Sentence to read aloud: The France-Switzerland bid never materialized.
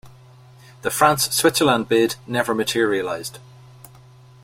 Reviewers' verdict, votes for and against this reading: accepted, 2, 0